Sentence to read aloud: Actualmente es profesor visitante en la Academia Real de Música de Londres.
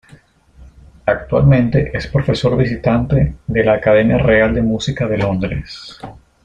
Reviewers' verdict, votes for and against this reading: accepted, 2, 1